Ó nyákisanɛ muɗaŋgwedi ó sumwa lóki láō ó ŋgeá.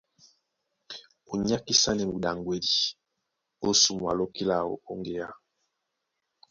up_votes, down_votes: 2, 1